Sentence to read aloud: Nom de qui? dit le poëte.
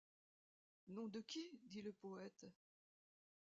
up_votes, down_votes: 2, 1